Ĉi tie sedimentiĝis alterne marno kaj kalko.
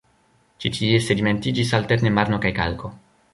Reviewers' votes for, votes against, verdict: 0, 2, rejected